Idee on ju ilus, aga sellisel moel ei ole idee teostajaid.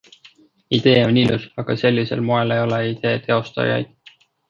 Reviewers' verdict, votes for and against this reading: rejected, 0, 2